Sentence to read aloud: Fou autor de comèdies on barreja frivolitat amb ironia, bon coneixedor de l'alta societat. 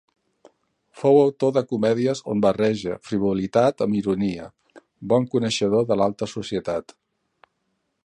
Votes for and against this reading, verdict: 2, 0, accepted